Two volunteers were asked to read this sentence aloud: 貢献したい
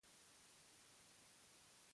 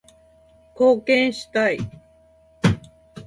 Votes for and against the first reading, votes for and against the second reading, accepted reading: 1, 2, 2, 0, second